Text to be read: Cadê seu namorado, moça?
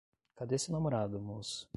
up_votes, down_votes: 5, 5